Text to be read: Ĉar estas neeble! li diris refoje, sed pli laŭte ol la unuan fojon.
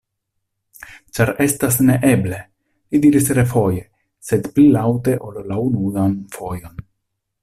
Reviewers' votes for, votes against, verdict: 2, 0, accepted